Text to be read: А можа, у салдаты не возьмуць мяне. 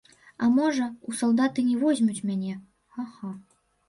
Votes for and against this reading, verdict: 1, 2, rejected